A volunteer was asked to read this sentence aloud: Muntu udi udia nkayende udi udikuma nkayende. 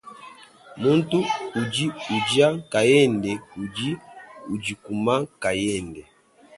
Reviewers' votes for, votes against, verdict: 1, 2, rejected